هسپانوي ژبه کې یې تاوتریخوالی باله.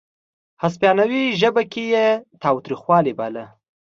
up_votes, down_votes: 2, 0